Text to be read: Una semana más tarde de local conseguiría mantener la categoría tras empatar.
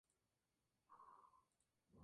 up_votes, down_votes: 0, 2